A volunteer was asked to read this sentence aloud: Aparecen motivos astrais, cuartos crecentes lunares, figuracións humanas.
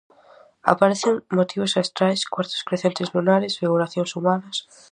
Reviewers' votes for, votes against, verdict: 2, 0, accepted